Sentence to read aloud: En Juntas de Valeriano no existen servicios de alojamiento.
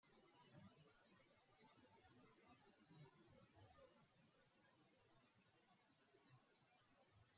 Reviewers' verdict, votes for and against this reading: rejected, 0, 3